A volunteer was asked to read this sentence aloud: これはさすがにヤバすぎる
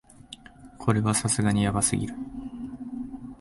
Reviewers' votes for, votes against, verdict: 2, 0, accepted